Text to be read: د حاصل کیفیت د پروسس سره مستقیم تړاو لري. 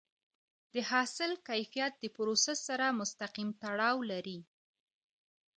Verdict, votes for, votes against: accepted, 2, 0